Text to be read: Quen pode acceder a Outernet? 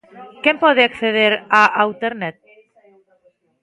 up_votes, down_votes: 0, 2